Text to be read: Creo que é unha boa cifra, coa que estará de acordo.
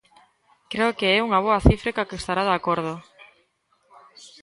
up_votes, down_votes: 1, 2